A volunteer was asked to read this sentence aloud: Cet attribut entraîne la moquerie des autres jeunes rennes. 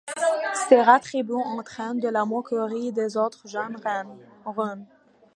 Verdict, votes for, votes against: rejected, 0, 2